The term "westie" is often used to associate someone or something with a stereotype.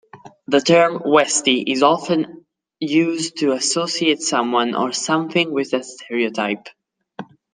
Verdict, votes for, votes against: accepted, 2, 0